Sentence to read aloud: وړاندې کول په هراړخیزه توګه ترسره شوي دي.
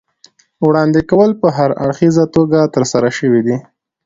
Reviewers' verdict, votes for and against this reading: accepted, 2, 0